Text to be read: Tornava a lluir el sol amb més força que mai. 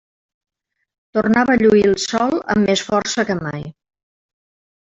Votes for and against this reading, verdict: 3, 2, accepted